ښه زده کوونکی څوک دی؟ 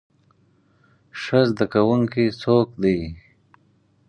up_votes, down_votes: 4, 0